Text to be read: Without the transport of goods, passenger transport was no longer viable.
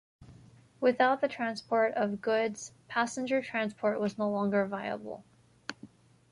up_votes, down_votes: 2, 0